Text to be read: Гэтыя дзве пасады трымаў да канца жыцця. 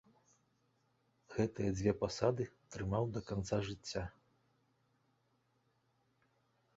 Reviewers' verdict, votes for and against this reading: accepted, 2, 1